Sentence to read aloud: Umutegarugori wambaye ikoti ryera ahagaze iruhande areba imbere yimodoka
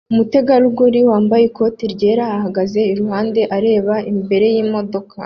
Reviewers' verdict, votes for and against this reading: accepted, 2, 0